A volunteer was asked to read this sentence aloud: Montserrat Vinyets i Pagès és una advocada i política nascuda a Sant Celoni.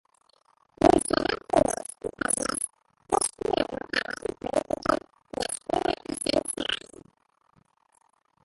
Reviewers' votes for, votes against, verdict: 0, 2, rejected